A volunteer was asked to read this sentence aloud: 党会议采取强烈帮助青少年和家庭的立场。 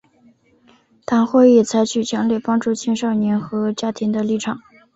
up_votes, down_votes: 2, 0